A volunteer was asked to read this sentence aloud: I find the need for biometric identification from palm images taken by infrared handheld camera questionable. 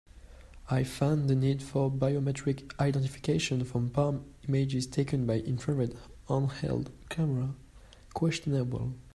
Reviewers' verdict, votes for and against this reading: rejected, 1, 2